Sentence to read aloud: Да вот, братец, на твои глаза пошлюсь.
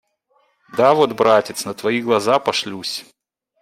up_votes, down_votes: 2, 0